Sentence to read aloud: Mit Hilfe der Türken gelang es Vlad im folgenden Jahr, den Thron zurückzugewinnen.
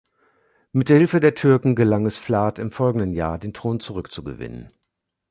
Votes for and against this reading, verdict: 1, 2, rejected